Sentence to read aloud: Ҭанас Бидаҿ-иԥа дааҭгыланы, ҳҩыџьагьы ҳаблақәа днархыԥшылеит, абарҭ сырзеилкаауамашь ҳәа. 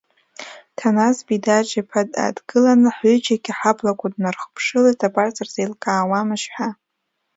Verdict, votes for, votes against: accepted, 2, 0